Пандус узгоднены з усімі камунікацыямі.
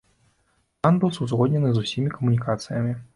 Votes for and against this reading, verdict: 2, 1, accepted